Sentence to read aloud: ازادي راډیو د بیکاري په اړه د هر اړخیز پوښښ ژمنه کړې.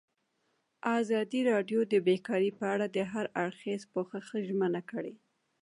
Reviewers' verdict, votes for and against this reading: rejected, 1, 2